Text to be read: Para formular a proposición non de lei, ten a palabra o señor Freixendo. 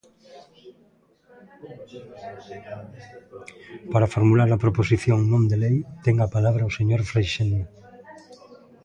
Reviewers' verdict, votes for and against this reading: rejected, 0, 2